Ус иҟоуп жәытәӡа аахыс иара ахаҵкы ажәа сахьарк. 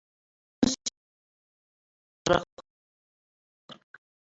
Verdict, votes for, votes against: rejected, 1, 2